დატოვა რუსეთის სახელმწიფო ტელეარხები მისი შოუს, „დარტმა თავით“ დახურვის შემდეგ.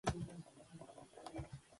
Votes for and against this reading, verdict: 1, 4, rejected